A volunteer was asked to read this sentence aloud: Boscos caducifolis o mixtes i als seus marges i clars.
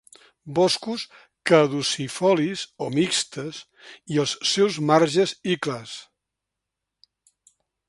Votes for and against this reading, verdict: 2, 0, accepted